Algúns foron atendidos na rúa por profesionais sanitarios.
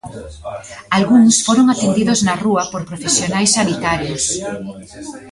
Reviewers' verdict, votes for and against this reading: accepted, 3, 0